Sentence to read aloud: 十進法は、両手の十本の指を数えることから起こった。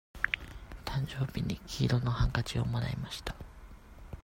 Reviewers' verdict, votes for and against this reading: rejected, 0, 2